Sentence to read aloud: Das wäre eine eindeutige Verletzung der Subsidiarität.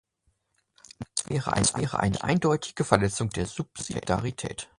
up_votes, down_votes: 0, 2